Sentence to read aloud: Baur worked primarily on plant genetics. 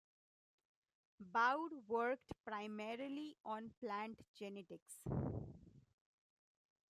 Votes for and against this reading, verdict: 2, 1, accepted